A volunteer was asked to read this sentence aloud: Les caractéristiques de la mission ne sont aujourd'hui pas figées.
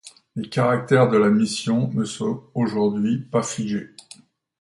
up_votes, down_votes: 0, 2